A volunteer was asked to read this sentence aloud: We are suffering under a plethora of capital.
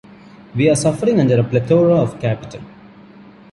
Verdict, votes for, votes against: accepted, 2, 0